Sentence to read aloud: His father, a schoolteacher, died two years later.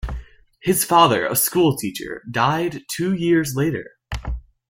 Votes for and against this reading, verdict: 2, 0, accepted